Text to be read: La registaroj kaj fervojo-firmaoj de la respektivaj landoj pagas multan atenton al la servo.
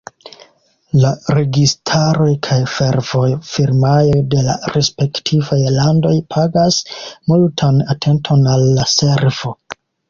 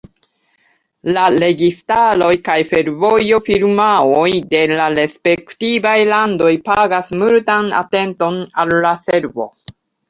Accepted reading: second